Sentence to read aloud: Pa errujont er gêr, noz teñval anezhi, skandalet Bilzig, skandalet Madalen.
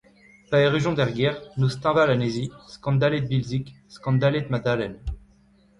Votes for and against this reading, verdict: 2, 1, accepted